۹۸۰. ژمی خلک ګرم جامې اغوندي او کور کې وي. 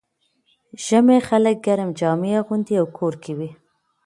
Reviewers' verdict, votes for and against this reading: rejected, 0, 2